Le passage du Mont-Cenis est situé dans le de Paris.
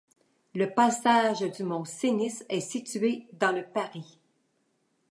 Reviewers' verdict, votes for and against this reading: rejected, 1, 2